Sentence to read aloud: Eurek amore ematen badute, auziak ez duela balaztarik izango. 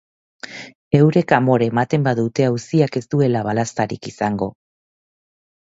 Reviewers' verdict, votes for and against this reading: accepted, 2, 0